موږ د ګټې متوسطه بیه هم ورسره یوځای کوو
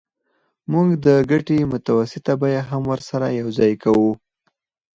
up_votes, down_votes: 0, 4